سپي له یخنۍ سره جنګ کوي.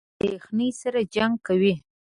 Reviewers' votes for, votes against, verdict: 0, 3, rejected